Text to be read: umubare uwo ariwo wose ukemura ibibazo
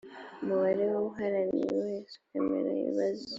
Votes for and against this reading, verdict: 1, 2, rejected